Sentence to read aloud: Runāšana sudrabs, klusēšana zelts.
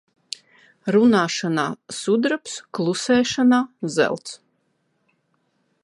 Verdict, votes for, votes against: rejected, 1, 2